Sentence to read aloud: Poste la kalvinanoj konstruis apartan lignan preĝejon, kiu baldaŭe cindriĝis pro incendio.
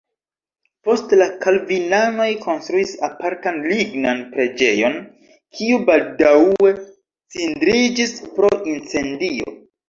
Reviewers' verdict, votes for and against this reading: rejected, 0, 2